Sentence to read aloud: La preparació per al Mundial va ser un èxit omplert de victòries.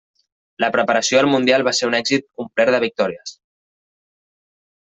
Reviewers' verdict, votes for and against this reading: rejected, 0, 2